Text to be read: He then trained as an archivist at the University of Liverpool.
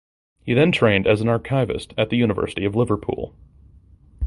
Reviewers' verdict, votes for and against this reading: accepted, 2, 0